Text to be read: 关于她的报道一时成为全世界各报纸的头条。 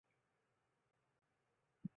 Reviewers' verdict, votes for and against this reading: rejected, 0, 2